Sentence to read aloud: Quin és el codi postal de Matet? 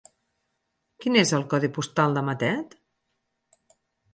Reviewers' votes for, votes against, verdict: 6, 0, accepted